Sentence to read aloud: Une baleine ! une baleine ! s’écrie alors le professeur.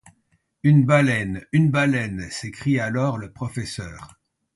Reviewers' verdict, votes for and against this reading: accepted, 2, 0